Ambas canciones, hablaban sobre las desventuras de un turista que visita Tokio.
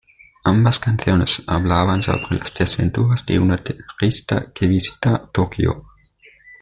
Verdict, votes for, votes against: rejected, 1, 2